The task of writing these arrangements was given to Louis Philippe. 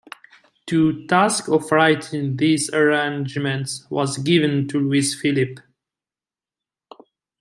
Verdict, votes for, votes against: rejected, 1, 2